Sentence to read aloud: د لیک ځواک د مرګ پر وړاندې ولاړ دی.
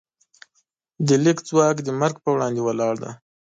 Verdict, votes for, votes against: accepted, 2, 1